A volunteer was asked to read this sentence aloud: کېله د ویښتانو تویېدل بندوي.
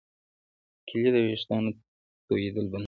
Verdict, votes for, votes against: rejected, 1, 2